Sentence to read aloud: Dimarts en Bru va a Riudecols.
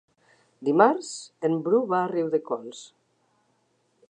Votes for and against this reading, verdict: 4, 0, accepted